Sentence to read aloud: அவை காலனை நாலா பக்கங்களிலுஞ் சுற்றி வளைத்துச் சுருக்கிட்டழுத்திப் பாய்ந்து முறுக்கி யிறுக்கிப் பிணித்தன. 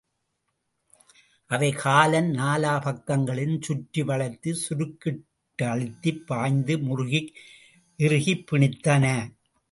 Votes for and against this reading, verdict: 0, 2, rejected